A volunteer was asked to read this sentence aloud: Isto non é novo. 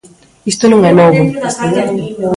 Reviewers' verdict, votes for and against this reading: rejected, 1, 2